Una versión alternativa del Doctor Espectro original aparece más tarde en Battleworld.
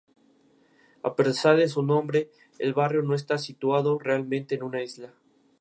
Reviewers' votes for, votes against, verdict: 0, 2, rejected